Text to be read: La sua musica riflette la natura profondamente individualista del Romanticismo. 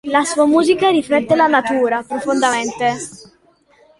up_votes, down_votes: 0, 2